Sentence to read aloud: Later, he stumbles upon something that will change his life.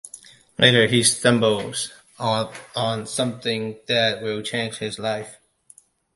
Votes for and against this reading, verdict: 0, 2, rejected